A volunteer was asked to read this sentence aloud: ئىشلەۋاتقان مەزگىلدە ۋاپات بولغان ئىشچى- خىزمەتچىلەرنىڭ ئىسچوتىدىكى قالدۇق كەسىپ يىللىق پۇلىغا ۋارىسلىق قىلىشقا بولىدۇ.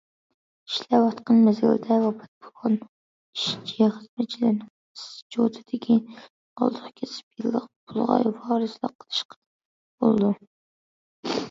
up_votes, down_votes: 0, 2